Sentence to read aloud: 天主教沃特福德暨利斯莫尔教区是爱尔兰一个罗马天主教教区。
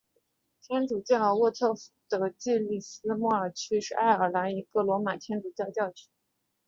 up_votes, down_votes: 2, 3